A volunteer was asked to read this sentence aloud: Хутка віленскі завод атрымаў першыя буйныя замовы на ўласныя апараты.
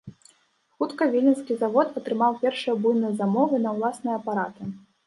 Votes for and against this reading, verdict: 1, 2, rejected